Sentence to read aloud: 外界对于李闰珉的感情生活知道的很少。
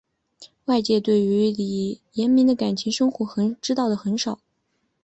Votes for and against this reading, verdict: 2, 1, accepted